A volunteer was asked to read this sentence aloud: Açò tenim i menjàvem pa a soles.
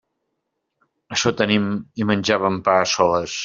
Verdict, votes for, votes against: accepted, 2, 0